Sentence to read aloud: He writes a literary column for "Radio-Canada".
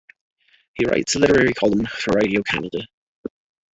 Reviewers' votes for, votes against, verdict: 2, 1, accepted